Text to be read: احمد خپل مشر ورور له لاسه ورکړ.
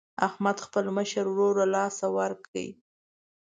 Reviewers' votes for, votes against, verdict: 2, 0, accepted